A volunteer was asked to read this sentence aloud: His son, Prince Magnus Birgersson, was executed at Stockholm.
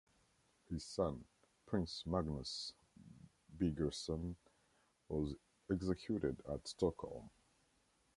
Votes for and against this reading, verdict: 0, 2, rejected